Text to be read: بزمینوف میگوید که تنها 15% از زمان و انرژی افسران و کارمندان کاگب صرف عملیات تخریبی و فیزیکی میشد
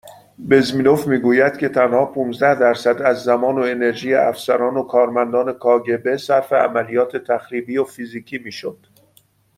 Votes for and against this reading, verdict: 0, 2, rejected